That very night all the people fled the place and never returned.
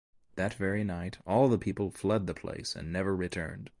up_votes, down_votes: 2, 0